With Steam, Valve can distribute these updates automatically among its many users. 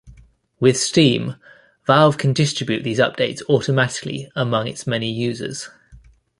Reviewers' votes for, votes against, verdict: 2, 0, accepted